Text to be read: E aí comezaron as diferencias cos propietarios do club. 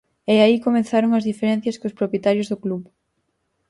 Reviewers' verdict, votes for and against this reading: rejected, 0, 4